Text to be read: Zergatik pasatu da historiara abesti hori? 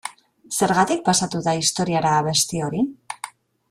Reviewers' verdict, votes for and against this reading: accepted, 2, 0